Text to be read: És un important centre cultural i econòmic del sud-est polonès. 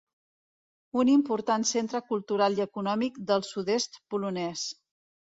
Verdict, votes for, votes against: rejected, 1, 2